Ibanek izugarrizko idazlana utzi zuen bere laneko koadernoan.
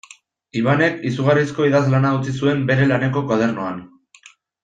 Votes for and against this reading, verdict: 2, 0, accepted